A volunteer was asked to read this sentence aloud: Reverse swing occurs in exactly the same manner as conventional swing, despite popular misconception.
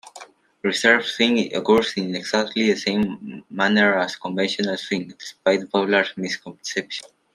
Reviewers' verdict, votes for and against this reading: rejected, 0, 2